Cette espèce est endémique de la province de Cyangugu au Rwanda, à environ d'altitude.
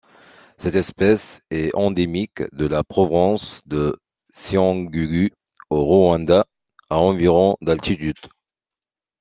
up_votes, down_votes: 2, 1